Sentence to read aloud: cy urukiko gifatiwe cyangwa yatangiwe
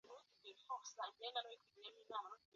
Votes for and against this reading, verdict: 0, 2, rejected